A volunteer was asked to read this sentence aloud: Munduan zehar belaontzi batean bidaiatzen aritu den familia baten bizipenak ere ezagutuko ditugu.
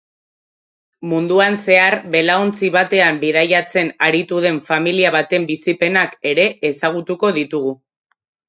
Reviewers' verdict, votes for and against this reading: accepted, 3, 0